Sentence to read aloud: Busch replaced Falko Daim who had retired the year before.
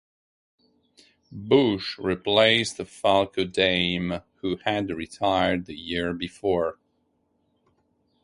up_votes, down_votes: 0, 2